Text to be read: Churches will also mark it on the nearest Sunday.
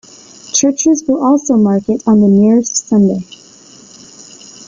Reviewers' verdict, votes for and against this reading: accepted, 2, 1